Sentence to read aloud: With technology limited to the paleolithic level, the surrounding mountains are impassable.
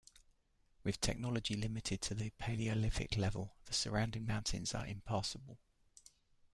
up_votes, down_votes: 1, 2